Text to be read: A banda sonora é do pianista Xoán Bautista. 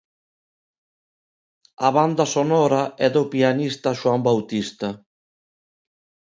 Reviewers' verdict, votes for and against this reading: accepted, 2, 0